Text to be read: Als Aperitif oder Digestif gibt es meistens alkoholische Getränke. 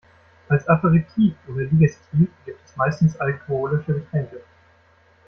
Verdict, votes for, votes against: rejected, 1, 2